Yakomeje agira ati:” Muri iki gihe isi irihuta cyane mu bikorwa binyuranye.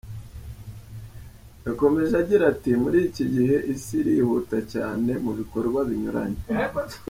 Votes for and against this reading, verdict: 2, 0, accepted